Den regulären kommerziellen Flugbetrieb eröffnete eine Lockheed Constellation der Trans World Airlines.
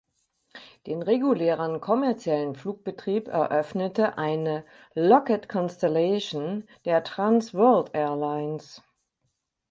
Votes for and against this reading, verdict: 0, 4, rejected